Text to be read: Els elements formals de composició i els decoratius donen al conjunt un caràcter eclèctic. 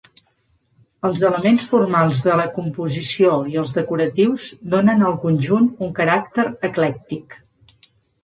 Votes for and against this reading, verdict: 1, 2, rejected